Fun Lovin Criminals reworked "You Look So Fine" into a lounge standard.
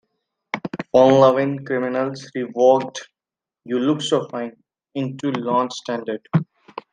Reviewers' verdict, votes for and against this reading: rejected, 0, 2